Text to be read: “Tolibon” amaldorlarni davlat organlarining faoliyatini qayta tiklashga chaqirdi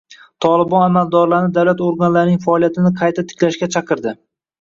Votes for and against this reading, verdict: 1, 2, rejected